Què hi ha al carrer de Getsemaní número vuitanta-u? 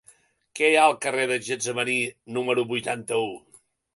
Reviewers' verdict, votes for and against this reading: rejected, 1, 2